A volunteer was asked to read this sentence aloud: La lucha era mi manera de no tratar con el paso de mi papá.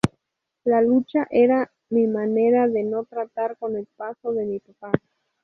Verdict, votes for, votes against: rejected, 2, 2